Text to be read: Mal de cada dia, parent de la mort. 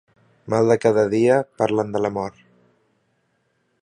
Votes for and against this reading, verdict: 1, 2, rejected